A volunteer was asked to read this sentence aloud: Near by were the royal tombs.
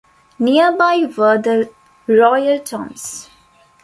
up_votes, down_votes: 2, 0